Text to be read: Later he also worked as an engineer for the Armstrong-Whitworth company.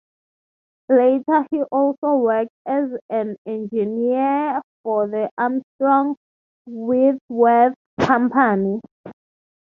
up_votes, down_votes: 3, 0